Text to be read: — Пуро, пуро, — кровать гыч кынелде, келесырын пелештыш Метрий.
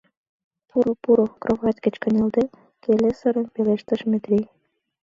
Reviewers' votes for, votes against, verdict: 2, 0, accepted